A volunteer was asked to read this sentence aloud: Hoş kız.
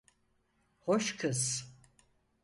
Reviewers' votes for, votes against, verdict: 4, 0, accepted